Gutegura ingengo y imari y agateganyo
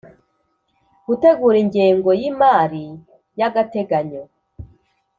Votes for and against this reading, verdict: 2, 0, accepted